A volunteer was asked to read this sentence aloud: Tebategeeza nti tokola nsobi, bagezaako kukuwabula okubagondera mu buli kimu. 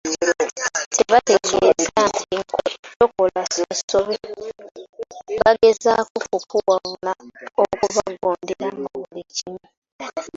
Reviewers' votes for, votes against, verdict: 0, 2, rejected